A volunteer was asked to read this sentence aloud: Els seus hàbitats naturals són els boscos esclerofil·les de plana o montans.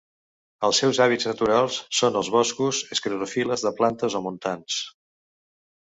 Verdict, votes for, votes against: rejected, 1, 2